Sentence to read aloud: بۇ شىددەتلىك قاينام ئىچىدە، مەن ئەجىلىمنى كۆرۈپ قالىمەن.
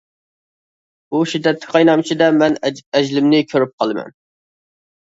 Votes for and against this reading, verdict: 1, 2, rejected